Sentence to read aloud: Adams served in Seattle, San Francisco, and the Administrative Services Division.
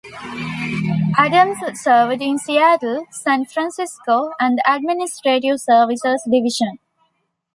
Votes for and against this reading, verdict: 2, 1, accepted